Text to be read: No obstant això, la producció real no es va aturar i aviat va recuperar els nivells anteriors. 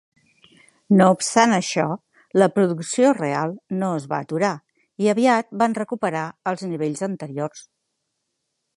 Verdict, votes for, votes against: rejected, 1, 2